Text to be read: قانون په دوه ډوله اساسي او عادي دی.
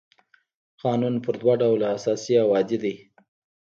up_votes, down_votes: 1, 2